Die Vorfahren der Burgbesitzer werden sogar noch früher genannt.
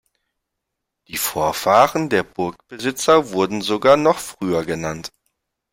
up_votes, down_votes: 0, 2